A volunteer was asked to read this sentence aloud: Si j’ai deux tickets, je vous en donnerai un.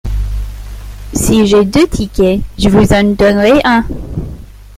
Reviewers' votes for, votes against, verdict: 2, 1, accepted